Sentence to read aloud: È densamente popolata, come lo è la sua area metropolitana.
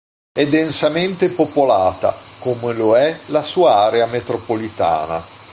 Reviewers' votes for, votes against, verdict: 2, 0, accepted